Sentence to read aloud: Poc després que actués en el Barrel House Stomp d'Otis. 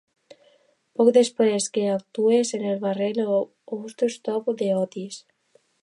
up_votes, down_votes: 1, 2